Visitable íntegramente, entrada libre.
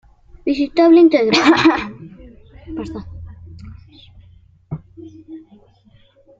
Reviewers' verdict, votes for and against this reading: rejected, 0, 2